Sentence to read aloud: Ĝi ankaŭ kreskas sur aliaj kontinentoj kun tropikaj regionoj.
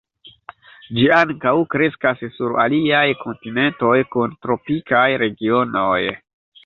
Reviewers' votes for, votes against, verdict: 0, 2, rejected